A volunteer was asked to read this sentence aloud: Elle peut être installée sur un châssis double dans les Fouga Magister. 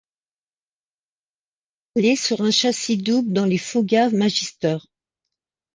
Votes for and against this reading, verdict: 0, 2, rejected